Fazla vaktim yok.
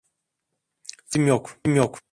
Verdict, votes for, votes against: rejected, 0, 2